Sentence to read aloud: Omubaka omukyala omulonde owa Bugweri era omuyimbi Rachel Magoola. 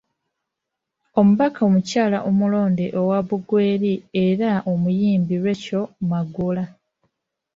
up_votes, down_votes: 2, 1